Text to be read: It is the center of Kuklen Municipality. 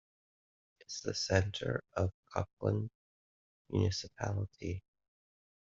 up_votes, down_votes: 0, 2